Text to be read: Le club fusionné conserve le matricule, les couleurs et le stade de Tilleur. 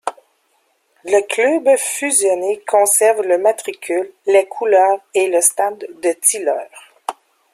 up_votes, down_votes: 2, 0